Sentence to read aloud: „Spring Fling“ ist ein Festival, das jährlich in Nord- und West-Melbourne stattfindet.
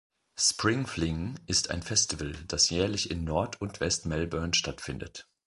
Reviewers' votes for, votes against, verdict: 2, 0, accepted